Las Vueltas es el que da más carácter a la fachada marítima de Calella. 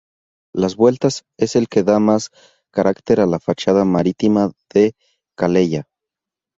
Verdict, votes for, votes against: rejected, 0, 2